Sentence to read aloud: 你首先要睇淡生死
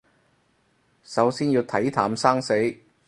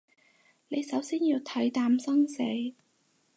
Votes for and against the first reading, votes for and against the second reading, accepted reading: 0, 4, 4, 0, second